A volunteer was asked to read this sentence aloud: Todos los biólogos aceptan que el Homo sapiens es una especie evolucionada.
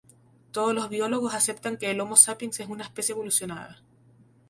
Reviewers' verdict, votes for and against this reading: rejected, 0, 2